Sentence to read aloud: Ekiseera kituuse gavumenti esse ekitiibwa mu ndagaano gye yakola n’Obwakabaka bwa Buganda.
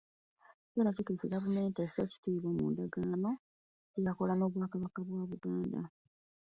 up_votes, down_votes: 2, 1